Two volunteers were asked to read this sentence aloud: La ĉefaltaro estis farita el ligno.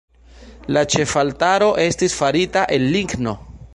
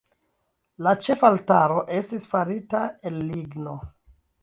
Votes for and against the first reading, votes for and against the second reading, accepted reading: 2, 0, 1, 2, first